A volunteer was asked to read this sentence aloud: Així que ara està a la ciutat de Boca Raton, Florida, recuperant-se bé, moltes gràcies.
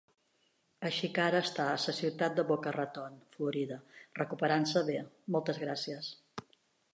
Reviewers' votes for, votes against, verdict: 0, 2, rejected